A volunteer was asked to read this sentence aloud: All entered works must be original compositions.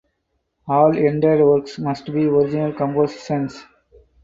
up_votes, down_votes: 4, 2